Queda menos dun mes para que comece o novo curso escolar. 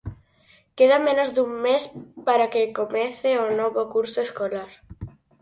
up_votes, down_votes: 6, 0